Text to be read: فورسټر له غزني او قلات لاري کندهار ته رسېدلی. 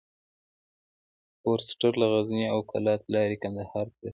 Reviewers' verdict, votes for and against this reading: rejected, 0, 2